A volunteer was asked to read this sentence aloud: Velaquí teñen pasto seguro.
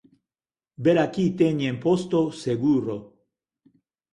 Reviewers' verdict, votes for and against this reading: rejected, 0, 6